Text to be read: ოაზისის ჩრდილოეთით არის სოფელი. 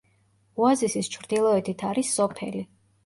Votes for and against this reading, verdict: 2, 0, accepted